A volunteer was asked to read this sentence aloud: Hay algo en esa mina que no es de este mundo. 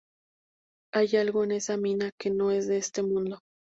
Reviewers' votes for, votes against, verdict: 2, 0, accepted